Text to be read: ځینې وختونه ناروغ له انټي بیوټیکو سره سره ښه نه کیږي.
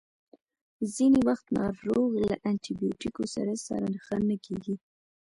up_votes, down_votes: 1, 2